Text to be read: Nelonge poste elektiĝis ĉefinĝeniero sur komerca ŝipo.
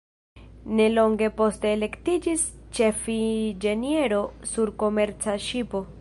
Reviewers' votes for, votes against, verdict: 1, 2, rejected